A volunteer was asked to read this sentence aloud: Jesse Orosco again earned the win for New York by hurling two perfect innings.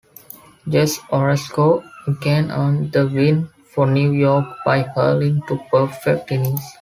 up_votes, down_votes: 1, 2